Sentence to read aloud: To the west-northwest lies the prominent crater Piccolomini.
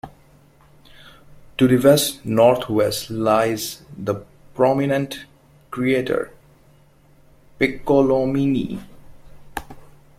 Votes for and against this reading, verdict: 0, 2, rejected